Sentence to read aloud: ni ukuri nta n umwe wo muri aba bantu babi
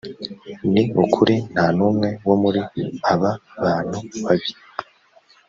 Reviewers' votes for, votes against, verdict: 3, 0, accepted